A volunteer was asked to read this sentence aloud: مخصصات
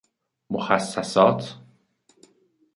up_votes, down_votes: 2, 0